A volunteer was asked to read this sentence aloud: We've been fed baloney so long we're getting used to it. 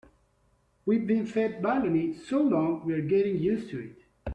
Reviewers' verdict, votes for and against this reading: accepted, 2, 0